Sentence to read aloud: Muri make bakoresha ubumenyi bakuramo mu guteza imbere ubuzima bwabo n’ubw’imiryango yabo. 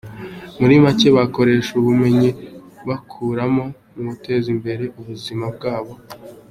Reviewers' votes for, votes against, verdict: 0, 2, rejected